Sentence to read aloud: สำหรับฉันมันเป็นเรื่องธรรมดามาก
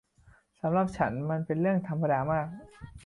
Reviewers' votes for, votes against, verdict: 2, 0, accepted